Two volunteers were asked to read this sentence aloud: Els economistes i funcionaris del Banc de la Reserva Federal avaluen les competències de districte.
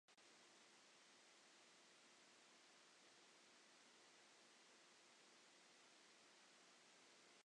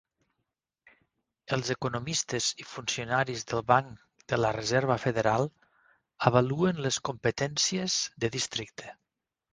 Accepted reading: second